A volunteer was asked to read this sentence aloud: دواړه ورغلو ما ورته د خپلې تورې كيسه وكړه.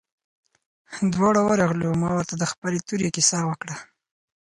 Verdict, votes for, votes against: accepted, 4, 0